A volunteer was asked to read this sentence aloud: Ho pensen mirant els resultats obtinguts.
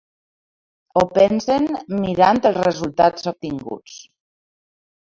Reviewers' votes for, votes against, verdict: 2, 0, accepted